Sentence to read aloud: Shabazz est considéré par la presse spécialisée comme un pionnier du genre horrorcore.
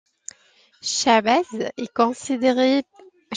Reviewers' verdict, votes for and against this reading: rejected, 0, 2